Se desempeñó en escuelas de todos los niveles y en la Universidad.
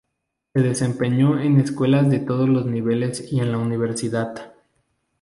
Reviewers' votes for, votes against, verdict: 0, 2, rejected